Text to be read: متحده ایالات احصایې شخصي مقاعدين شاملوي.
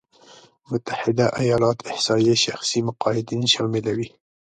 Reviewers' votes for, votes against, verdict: 2, 0, accepted